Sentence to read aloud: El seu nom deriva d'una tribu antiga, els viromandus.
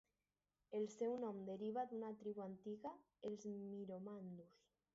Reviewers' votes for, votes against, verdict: 2, 0, accepted